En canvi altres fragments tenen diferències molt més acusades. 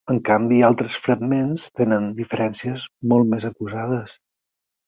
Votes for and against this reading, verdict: 6, 0, accepted